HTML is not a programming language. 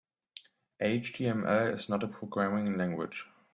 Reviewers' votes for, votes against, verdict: 0, 2, rejected